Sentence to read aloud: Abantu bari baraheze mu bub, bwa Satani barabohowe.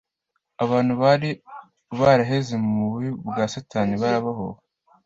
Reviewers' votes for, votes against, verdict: 2, 0, accepted